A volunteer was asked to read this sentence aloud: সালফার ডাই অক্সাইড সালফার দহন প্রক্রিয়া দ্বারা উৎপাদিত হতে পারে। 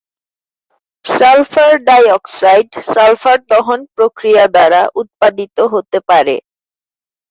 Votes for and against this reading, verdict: 2, 0, accepted